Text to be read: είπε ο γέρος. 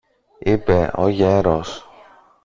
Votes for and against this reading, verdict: 1, 2, rejected